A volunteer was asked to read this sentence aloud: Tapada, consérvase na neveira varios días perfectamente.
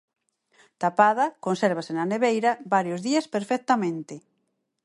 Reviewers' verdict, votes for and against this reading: accepted, 4, 0